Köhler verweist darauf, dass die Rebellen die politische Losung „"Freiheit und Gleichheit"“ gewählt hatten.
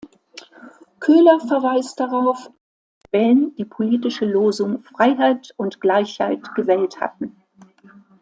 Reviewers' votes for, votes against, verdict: 0, 2, rejected